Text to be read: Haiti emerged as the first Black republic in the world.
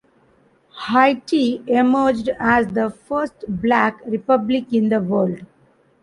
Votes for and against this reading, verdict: 0, 2, rejected